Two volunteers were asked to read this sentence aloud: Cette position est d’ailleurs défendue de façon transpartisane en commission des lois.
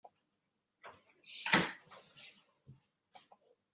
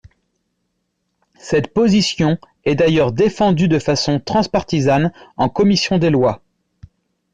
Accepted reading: second